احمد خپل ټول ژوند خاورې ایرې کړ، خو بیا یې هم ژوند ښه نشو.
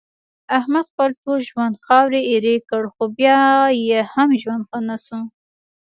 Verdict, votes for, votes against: accepted, 2, 0